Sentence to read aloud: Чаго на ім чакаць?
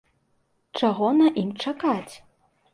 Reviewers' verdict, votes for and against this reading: accepted, 2, 0